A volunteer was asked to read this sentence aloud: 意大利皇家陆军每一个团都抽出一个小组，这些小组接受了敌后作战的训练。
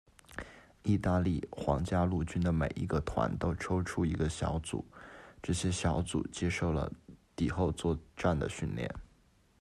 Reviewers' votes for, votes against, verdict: 2, 0, accepted